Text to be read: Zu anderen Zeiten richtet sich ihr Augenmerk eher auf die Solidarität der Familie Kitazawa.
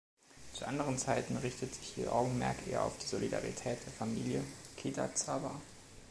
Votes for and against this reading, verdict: 2, 0, accepted